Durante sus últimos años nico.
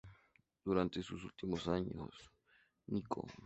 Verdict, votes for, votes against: accepted, 2, 0